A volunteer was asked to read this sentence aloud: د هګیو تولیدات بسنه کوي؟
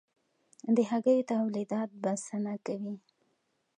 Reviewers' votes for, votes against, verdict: 2, 0, accepted